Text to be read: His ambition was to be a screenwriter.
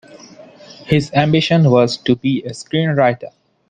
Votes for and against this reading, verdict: 2, 0, accepted